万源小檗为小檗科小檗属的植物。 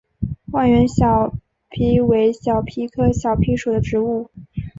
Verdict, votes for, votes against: accepted, 6, 0